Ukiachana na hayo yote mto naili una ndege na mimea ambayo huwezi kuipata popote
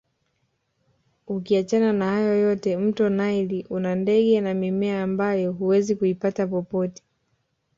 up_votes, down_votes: 0, 2